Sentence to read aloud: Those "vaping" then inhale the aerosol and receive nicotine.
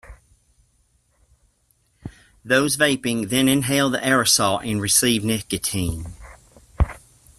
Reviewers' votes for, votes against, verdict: 2, 1, accepted